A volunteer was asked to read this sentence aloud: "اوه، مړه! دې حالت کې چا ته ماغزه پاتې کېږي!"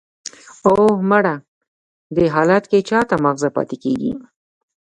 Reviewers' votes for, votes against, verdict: 2, 0, accepted